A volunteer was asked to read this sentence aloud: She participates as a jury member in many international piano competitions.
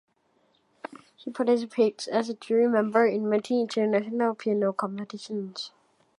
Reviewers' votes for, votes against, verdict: 1, 2, rejected